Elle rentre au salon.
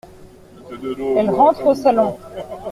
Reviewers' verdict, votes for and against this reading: rejected, 1, 2